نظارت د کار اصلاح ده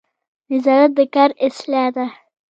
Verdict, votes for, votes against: accepted, 2, 0